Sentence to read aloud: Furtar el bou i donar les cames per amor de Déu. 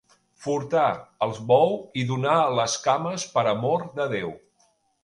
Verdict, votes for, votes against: rejected, 1, 2